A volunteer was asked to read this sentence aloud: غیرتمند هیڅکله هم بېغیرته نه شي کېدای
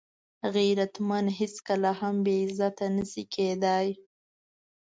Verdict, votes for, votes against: accepted, 2, 1